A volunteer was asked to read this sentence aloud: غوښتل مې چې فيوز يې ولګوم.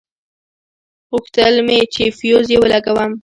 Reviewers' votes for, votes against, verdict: 1, 2, rejected